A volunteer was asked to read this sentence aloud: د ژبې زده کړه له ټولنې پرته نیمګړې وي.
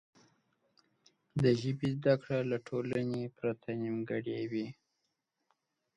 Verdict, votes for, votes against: accepted, 2, 0